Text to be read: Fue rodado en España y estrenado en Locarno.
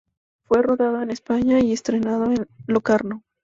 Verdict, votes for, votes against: rejected, 0, 2